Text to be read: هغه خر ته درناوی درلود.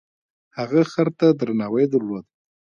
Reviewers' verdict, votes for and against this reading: accepted, 2, 1